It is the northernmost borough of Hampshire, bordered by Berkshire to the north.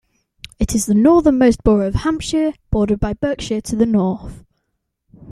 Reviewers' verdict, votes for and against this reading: accepted, 2, 0